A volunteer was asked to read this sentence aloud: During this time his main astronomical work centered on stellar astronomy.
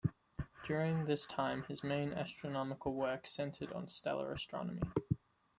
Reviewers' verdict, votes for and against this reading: accepted, 2, 0